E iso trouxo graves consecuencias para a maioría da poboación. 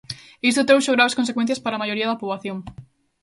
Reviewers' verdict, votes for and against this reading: rejected, 1, 2